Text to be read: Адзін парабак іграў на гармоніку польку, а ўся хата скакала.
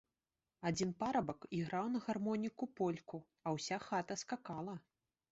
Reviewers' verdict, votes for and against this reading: accepted, 2, 1